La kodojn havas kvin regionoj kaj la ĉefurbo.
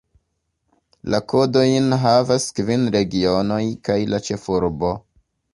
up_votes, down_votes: 2, 1